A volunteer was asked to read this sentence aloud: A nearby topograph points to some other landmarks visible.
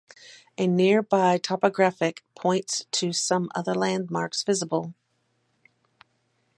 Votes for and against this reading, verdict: 2, 2, rejected